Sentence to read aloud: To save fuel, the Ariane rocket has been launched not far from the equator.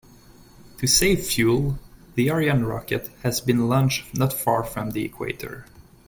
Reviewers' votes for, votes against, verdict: 2, 0, accepted